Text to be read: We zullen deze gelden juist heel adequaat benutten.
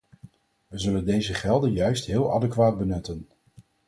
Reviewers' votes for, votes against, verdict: 4, 0, accepted